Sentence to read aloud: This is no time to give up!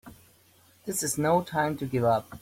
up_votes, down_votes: 2, 0